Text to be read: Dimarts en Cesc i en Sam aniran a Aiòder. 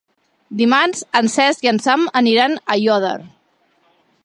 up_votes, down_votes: 2, 0